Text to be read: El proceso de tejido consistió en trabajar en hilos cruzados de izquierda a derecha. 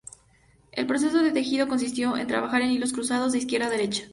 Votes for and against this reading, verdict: 2, 0, accepted